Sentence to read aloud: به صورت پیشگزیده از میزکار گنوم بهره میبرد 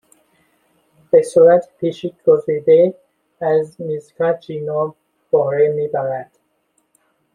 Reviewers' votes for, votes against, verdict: 1, 2, rejected